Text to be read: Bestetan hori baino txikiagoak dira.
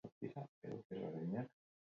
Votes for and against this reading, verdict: 0, 4, rejected